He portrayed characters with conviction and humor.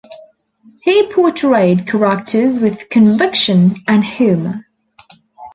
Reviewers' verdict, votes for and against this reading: rejected, 0, 2